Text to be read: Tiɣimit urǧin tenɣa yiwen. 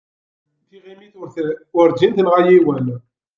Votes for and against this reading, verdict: 0, 2, rejected